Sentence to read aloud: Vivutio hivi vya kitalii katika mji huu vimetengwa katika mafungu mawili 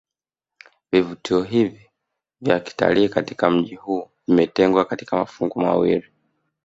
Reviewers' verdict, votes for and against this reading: accepted, 2, 1